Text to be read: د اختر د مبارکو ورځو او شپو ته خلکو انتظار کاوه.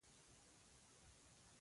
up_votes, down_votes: 1, 2